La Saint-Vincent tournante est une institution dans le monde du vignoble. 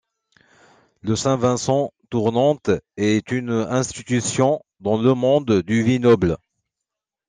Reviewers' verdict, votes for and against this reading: rejected, 1, 2